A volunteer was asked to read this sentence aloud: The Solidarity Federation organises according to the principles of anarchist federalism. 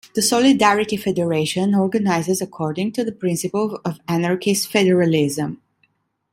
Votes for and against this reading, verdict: 1, 2, rejected